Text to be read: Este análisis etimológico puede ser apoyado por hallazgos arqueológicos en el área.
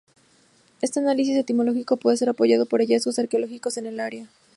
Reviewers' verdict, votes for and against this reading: accepted, 2, 0